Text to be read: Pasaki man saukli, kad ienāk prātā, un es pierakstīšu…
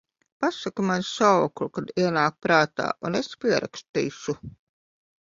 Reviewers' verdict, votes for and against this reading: accepted, 2, 1